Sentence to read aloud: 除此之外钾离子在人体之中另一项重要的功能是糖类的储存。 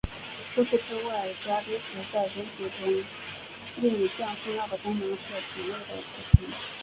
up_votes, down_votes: 2, 1